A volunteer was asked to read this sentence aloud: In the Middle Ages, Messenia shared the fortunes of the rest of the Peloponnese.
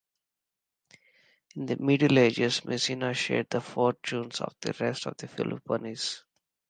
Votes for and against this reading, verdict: 2, 1, accepted